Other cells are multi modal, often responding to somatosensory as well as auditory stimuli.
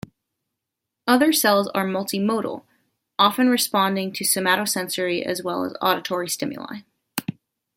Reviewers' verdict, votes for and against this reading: accepted, 2, 0